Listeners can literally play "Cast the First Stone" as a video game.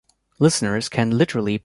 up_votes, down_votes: 0, 2